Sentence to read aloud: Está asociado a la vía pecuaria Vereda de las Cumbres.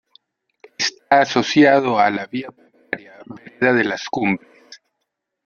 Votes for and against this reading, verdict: 0, 2, rejected